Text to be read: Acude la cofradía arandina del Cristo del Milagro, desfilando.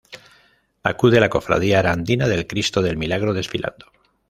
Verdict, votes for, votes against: rejected, 1, 2